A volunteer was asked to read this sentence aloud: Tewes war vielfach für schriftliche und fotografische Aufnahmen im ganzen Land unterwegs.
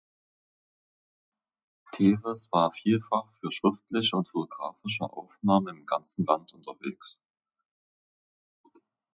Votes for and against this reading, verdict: 0, 2, rejected